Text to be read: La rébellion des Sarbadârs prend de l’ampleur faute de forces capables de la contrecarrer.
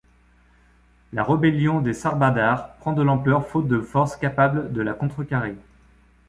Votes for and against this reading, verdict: 2, 0, accepted